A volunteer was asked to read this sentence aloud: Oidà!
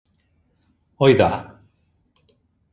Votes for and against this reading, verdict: 3, 0, accepted